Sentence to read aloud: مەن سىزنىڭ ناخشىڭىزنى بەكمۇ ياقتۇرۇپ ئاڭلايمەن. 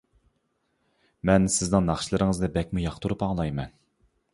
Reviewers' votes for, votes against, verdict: 0, 2, rejected